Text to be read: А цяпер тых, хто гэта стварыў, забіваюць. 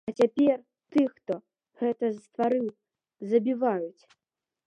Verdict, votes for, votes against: accepted, 2, 0